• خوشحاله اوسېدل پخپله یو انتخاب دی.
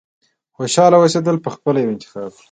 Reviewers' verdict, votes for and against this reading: accepted, 2, 0